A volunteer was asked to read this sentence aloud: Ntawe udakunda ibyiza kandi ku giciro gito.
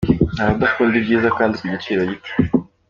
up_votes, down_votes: 2, 0